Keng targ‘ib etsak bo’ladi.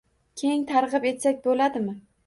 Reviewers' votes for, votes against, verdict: 2, 0, accepted